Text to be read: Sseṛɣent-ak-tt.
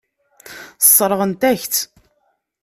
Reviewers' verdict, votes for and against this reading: accepted, 2, 0